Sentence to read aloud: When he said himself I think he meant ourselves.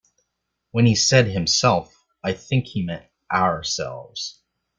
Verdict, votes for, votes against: accepted, 2, 0